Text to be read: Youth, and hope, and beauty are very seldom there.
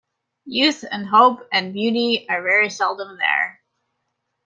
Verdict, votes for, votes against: accepted, 2, 0